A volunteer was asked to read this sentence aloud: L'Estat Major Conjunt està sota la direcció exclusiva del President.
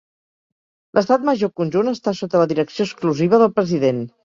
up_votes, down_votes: 3, 0